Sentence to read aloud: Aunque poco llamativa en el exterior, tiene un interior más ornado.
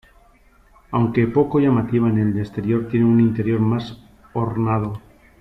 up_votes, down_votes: 2, 1